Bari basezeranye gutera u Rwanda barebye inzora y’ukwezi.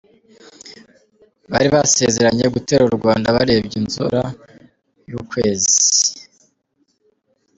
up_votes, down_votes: 2, 0